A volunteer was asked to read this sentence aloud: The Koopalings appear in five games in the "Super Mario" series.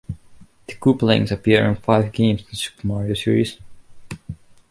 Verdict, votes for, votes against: rejected, 1, 2